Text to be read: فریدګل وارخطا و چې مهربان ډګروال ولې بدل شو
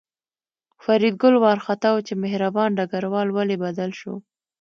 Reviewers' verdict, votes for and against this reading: accepted, 2, 0